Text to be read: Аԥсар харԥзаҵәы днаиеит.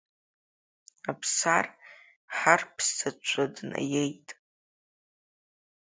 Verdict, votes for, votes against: accepted, 2, 1